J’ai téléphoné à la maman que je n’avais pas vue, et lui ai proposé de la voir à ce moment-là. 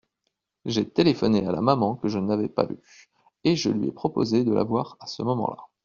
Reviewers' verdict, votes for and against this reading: rejected, 1, 2